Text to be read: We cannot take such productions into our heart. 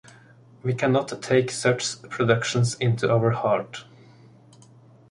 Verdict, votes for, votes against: accepted, 2, 0